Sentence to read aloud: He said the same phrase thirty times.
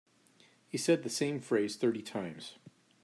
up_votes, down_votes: 2, 0